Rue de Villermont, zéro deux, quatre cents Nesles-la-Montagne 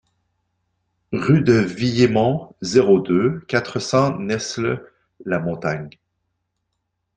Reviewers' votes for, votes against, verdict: 1, 2, rejected